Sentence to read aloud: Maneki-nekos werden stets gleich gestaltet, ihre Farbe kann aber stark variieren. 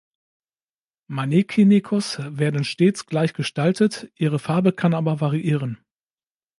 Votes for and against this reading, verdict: 0, 2, rejected